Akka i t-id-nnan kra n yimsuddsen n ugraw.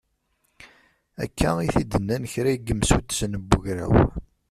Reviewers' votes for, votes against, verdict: 1, 2, rejected